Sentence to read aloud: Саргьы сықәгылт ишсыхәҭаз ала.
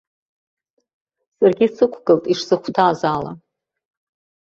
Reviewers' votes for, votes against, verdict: 2, 0, accepted